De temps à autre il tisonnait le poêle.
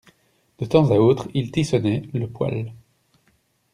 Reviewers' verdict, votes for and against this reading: rejected, 0, 2